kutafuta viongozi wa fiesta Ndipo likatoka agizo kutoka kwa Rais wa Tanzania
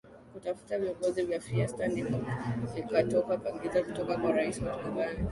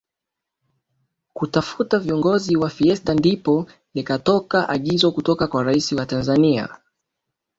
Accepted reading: first